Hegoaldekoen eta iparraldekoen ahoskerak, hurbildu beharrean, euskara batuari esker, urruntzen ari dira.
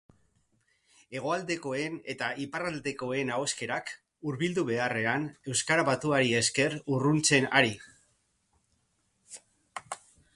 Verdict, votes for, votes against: rejected, 0, 2